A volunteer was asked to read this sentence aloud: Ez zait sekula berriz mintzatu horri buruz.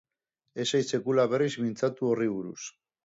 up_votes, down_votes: 4, 0